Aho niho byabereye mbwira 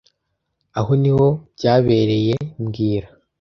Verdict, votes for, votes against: accepted, 2, 0